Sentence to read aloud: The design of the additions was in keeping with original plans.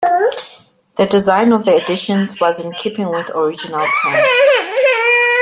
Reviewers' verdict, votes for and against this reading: rejected, 0, 2